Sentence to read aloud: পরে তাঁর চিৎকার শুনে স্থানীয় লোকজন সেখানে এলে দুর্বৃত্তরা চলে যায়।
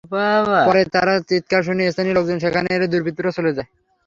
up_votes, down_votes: 3, 0